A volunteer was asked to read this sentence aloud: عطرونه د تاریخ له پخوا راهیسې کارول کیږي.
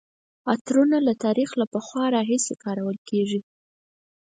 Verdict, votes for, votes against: accepted, 4, 0